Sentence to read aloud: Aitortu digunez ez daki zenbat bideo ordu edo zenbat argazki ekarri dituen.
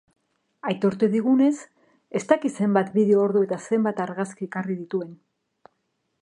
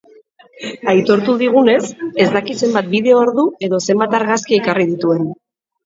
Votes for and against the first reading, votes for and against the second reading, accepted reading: 0, 2, 2, 0, second